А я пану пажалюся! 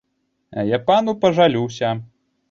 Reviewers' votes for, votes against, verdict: 0, 2, rejected